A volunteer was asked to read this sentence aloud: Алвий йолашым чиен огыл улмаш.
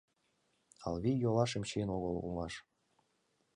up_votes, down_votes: 2, 0